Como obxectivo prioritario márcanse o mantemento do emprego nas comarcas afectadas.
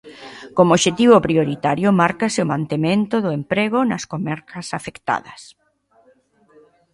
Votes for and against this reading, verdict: 0, 2, rejected